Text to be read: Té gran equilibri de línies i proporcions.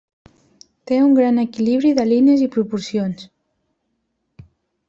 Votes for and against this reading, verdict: 1, 2, rejected